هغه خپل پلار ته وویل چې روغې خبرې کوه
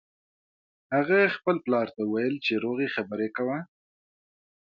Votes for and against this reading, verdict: 2, 0, accepted